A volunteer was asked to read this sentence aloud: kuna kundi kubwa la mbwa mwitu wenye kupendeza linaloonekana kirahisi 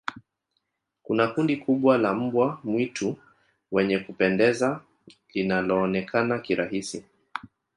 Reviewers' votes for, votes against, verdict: 1, 2, rejected